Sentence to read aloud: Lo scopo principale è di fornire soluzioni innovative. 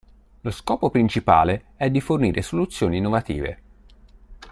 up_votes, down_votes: 2, 0